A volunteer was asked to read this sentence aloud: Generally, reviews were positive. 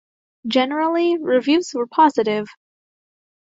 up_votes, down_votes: 2, 0